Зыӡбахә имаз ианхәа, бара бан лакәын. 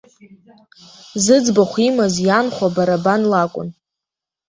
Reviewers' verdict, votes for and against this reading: accepted, 2, 1